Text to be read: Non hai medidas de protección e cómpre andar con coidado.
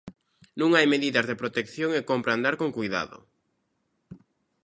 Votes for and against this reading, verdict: 2, 0, accepted